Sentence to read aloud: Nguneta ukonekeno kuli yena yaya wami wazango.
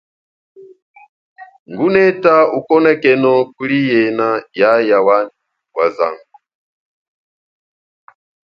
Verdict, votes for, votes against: accepted, 2, 1